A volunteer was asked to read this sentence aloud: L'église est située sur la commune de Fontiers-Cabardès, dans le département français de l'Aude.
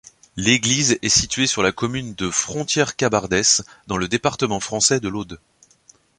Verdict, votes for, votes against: rejected, 0, 2